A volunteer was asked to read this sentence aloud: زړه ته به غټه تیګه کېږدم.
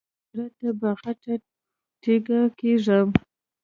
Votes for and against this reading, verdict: 0, 2, rejected